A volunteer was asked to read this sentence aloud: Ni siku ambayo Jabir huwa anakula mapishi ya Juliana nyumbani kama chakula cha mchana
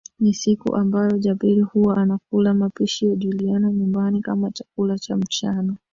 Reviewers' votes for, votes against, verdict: 5, 2, accepted